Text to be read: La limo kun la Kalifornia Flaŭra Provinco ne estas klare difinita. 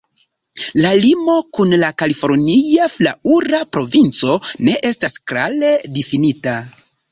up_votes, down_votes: 1, 2